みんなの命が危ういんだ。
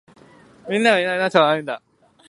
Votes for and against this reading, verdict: 1, 2, rejected